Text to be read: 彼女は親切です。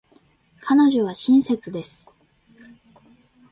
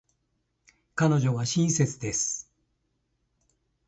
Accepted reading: second